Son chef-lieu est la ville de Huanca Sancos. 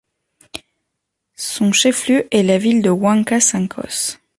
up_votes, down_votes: 2, 0